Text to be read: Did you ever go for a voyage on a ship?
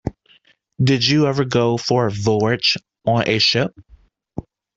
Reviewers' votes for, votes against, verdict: 0, 2, rejected